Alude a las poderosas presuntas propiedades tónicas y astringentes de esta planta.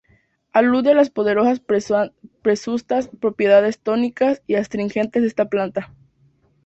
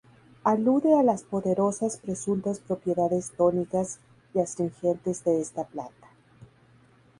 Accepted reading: second